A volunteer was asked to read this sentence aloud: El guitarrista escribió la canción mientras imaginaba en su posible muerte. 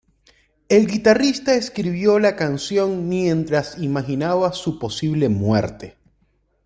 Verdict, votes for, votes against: rejected, 0, 2